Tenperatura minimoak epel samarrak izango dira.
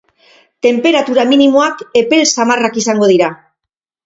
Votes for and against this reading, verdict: 2, 2, rejected